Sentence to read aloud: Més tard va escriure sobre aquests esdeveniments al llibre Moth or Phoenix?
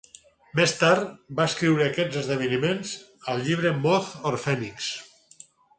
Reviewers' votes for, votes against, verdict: 0, 4, rejected